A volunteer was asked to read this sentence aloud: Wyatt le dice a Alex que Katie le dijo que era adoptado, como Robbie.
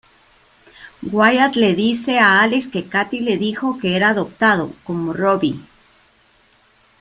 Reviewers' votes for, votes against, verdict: 1, 2, rejected